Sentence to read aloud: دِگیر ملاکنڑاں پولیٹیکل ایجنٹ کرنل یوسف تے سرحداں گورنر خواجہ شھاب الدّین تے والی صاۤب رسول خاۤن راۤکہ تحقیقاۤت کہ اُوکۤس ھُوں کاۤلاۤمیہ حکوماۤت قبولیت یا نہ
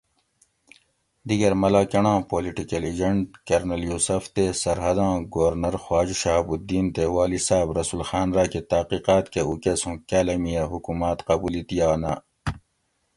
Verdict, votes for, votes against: accepted, 2, 0